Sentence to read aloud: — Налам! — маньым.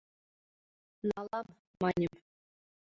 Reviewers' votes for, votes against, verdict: 0, 2, rejected